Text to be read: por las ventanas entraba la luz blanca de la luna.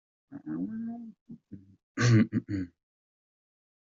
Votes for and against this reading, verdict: 0, 2, rejected